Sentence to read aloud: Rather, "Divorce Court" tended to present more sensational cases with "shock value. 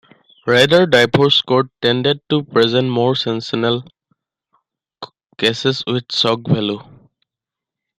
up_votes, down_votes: 0, 2